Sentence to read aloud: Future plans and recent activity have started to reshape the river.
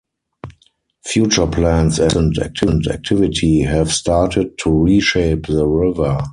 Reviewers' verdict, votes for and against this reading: rejected, 0, 4